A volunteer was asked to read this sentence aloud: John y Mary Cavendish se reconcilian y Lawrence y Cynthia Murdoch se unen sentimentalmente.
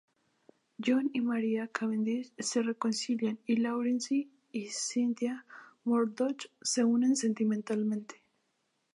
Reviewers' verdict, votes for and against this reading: accepted, 4, 0